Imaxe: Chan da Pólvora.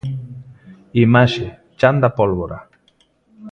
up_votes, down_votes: 2, 0